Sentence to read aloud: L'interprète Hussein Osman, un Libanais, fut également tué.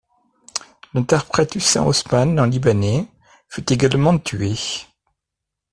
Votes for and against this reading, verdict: 2, 0, accepted